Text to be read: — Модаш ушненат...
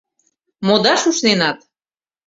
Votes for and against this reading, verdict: 2, 0, accepted